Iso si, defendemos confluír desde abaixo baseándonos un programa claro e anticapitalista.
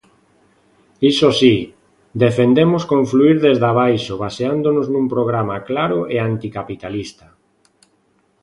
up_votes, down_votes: 1, 2